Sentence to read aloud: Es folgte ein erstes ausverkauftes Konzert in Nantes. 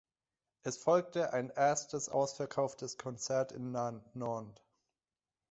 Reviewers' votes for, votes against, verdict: 0, 2, rejected